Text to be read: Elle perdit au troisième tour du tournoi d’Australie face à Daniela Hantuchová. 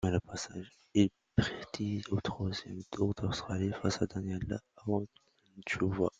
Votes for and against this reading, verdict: 0, 2, rejected